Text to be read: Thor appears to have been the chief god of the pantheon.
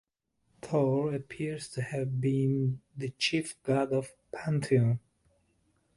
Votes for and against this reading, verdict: 1, 2, rejected